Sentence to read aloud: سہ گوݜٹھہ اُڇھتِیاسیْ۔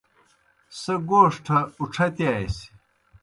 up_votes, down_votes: 2, 0